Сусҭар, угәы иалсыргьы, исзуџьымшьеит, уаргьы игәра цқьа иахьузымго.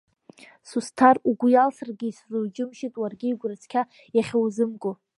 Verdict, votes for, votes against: accepted, 2, 0